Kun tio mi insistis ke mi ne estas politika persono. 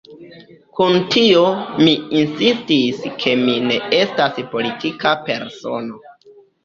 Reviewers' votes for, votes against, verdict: 1, 2, rejected